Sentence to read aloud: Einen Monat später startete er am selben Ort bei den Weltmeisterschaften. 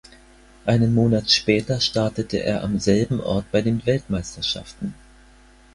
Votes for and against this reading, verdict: 4, 0, accepted